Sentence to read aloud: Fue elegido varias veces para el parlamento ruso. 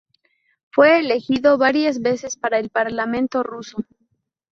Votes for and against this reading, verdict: 2, 0, accepted